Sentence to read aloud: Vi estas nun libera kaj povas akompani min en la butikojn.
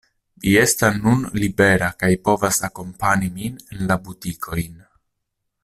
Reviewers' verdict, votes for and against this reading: rejected, 0, 2